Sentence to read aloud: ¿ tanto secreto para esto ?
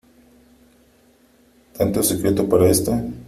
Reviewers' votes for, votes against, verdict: 3, 0, accepted